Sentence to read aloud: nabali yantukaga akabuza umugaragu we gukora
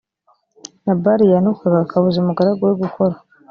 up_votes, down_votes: 2, 0